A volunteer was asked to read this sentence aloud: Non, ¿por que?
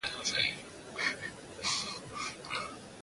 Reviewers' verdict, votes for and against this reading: rejected, 0, 2